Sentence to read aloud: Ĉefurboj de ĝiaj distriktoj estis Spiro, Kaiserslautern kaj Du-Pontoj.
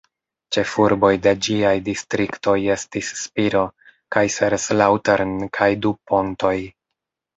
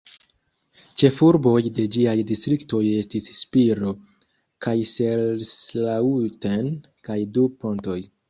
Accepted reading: first